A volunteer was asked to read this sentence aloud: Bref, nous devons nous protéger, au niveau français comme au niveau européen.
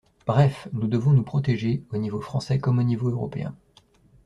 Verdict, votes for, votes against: accepted, 2, 0